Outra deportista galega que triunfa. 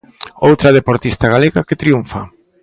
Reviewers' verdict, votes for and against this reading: accepted, 2, 0